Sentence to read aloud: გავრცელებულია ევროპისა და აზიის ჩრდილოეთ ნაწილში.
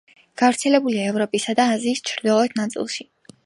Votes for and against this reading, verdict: 2, 0, accepted